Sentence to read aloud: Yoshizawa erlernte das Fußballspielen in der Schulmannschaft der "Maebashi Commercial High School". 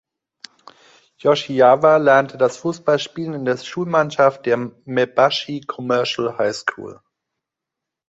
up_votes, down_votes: 0, 2